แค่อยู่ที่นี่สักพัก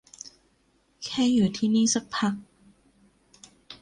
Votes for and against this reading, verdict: 2, 0, accepted